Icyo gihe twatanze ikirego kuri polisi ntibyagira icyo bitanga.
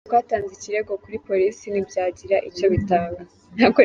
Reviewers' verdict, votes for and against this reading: rejected, 1, 2